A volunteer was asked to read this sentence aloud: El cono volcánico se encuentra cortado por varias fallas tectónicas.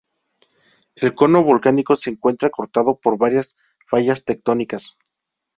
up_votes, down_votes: 0, 2